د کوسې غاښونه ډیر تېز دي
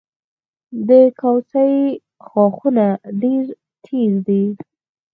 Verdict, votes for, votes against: rejected, 2, 4